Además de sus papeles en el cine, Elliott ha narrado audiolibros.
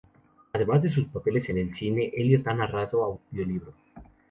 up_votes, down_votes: 0, 2